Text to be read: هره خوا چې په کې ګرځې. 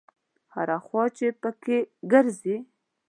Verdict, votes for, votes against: accepted, 2, 0